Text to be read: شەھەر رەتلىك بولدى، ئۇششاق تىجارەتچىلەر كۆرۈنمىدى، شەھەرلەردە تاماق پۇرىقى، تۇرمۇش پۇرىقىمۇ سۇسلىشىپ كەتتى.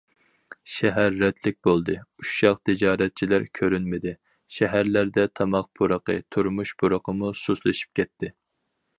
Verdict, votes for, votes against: accepted, 4, 0